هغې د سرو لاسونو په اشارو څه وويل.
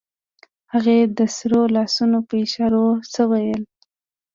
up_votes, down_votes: 2, 0